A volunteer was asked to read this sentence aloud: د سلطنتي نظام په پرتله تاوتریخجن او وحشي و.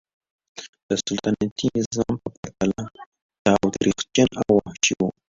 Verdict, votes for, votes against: accepted, 2, 0